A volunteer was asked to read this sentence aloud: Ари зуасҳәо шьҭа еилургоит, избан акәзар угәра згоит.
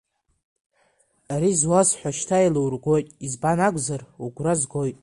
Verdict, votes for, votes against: accepted, 2, 0